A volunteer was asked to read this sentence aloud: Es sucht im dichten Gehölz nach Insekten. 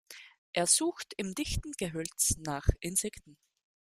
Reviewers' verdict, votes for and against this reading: accepted, 2, 0